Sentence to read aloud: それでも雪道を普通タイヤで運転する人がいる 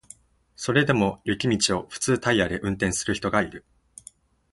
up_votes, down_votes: 6, 0